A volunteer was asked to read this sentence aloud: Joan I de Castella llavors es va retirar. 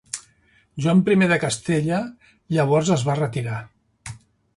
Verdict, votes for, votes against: accepted, 2, 0